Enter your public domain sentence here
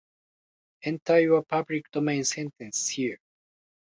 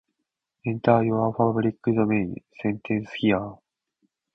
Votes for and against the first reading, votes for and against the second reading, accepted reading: 2, 1, 0, 3, first